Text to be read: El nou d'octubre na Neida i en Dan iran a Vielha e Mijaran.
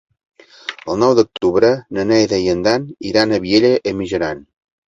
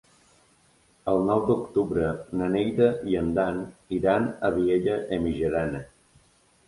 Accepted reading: first